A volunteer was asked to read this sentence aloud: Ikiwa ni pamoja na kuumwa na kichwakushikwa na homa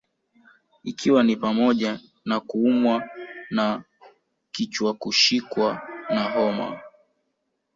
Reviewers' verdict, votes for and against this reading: accepted, 3, 0